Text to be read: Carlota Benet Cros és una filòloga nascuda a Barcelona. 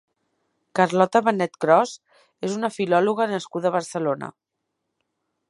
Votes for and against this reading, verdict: 3, 0, accepted